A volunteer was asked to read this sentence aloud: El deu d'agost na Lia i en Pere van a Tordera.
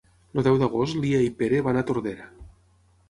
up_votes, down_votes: 0, 6